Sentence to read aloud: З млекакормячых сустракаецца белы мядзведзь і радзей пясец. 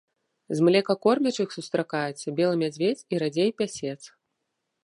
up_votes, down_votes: 2, 0